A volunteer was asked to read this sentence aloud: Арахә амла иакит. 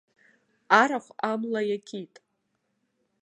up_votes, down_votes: 2, 0